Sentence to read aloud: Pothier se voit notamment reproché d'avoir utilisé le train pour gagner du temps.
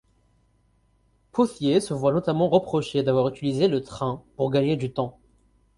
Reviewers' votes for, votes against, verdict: 0, 4, rejected